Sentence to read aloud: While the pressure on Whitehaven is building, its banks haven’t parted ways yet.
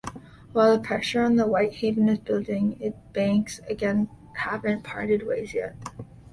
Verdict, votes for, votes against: rejected, 0, 2